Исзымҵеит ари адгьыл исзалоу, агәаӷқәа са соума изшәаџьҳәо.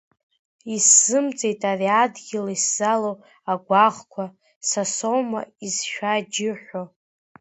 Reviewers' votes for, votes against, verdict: 1, 2, rejected